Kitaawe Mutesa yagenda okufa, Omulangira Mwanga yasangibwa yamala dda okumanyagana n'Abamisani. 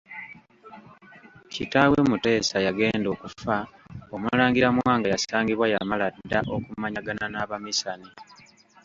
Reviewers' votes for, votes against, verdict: 0, 2, rejected